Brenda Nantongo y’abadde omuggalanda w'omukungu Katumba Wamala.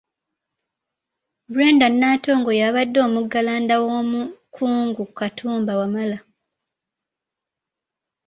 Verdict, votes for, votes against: accepted, 2, 1